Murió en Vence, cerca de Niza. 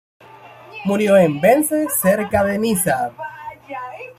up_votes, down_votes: 2, 1